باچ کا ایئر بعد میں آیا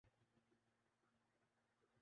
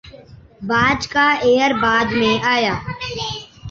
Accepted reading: second